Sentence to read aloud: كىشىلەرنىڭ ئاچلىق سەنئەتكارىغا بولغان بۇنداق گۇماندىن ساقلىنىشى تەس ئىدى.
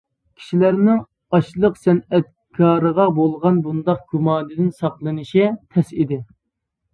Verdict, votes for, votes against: accepted, 2, 0